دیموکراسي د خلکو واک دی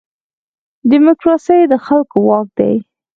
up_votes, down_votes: 2, 4